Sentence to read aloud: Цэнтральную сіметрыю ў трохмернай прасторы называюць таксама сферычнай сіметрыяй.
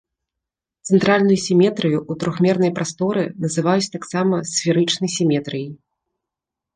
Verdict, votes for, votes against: accepted, 2, 0